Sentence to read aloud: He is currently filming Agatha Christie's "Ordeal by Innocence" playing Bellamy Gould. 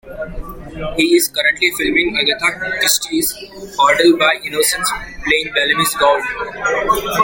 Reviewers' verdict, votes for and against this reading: rejected, 1, 2